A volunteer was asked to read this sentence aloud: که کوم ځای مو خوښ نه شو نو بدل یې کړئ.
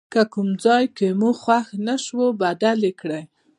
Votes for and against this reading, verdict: 0, 2, rejected